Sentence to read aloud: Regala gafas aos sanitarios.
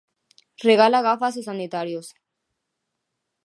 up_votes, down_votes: 2, 1